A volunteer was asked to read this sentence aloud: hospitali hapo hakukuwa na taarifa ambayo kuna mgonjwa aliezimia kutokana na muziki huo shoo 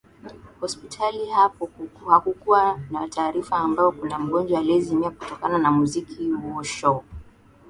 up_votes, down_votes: 2, 1